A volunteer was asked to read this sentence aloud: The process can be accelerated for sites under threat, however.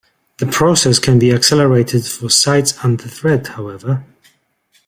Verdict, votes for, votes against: accepted, 2, 0